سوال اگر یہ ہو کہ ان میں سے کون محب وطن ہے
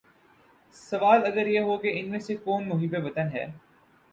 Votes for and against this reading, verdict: 10, 0, accepted